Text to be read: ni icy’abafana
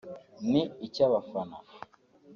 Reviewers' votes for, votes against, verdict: 2, 0, accepted